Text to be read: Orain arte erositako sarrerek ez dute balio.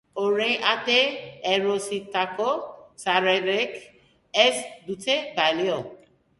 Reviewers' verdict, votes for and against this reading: accepted, 2, 0